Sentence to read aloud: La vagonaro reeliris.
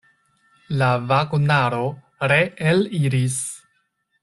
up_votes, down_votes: 2, 0